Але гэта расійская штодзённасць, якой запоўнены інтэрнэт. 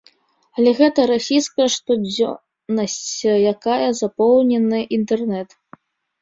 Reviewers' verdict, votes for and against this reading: rejected, 0, 2